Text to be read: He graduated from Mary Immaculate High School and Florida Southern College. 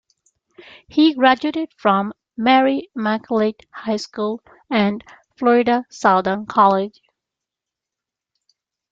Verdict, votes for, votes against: rejected, 0, 2